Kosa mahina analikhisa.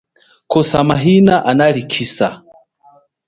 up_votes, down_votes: 2, 0